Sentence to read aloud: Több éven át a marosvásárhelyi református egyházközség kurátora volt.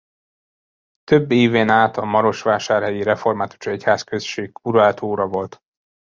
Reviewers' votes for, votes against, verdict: 0, 2, rejected